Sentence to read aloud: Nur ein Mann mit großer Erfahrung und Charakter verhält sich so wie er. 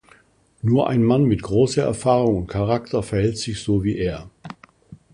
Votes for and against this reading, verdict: 0, 2, rejected